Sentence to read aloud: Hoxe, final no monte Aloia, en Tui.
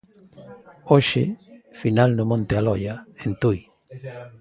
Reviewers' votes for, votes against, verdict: 1, 2, rejected